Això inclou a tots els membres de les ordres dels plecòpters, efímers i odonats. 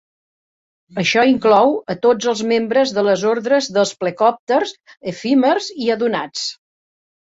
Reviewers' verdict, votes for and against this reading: rejected, 0, 2